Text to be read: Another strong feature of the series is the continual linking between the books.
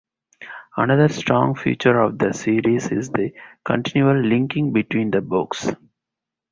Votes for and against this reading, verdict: 2, 2, rejected